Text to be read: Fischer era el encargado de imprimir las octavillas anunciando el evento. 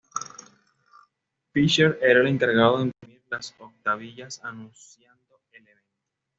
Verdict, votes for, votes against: rejected, 1, 2